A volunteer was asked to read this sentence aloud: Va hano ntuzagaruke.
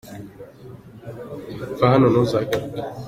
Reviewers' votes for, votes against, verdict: 2, 0, accepted